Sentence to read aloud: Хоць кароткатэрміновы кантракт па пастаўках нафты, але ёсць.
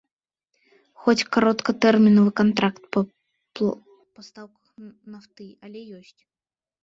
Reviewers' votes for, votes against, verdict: 0, 2, rejected